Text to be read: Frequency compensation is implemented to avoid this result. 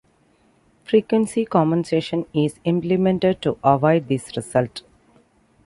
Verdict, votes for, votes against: accepted, 2, 0